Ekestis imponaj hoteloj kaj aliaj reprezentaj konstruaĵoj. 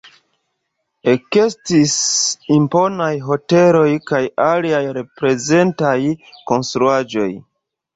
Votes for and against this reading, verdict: 1, 2, rejected